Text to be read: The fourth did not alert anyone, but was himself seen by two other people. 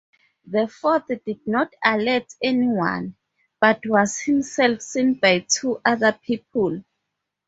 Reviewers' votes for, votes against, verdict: 0, 2, rejected